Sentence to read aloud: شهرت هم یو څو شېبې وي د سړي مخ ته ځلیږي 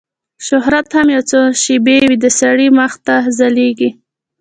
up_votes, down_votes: 1, 2